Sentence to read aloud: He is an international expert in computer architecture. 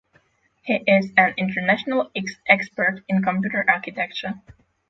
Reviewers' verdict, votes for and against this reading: rejected, 0, 6